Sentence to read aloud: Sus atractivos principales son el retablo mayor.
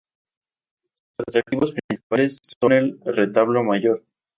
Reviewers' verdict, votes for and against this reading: rejected, 0, 2